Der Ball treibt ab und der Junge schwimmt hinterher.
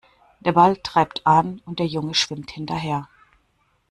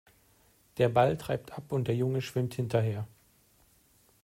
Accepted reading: second